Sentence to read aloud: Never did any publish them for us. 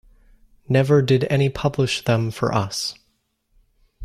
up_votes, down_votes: 2, 0